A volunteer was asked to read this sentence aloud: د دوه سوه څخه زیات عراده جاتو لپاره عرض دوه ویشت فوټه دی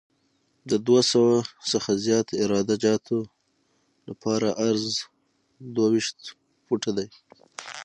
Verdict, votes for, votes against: accepted, 6, 0